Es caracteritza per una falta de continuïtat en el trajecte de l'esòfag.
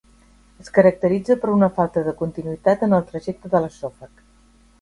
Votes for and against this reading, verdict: 0, 2, rejected